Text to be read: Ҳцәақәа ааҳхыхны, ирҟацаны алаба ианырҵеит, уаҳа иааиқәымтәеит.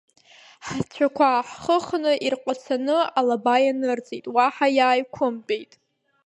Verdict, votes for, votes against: accepted, 2, 1